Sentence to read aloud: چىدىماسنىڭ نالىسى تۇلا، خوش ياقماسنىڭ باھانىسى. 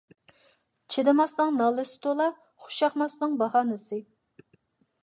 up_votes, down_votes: 2, 0